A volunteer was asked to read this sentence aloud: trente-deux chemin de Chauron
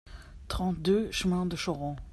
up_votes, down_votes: 2, 0